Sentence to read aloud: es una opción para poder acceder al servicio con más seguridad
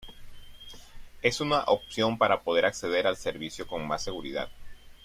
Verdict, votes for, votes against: accepted, 2, 0